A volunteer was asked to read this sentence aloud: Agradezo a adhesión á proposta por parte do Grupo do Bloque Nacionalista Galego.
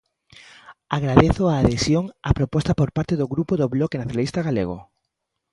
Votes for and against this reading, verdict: 2, 0, accepted